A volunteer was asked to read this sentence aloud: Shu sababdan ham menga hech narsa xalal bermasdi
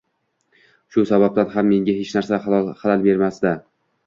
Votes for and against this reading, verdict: 2, 0, accepted